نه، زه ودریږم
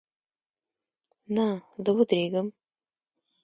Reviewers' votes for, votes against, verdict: 1, 2, rejected